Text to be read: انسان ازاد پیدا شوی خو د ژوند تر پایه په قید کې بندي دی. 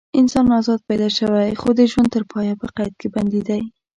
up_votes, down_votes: 2, 0